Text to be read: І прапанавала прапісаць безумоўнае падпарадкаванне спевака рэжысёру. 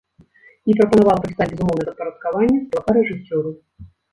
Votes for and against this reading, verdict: 0, 2, rejected